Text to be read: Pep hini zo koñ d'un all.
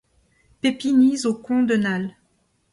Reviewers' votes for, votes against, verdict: 1, 2, rejected